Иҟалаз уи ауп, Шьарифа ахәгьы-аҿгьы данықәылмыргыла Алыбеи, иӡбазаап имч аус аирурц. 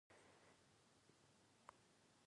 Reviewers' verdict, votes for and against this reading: rejected, 0, 2